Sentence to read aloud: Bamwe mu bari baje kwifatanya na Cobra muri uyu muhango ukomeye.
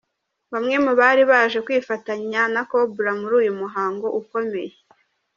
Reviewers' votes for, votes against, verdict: 2, 0, accepted